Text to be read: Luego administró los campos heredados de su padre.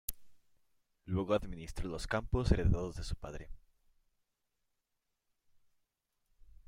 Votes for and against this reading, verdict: 0, 2, rejected